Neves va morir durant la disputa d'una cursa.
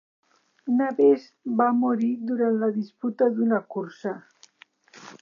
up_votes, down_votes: 1, 2